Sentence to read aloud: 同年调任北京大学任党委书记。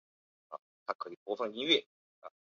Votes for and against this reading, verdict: 0, 3, rejected